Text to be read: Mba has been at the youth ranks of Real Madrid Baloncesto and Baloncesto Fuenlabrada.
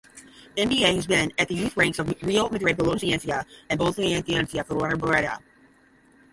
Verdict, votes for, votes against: rejected, 0, 5